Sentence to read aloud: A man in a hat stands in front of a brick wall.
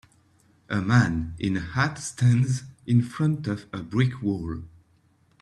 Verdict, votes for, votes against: accepted, 2, 1